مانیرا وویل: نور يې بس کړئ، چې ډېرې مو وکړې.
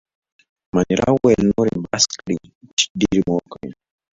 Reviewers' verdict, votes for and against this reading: accepted, 2, 0